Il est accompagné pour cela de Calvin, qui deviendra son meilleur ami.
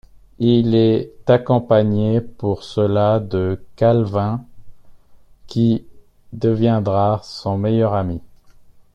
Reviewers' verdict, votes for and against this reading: rejected, 1, 2